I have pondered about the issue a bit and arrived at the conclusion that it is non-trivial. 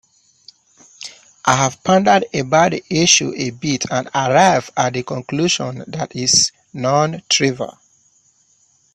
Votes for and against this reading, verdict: 1, 2, rejected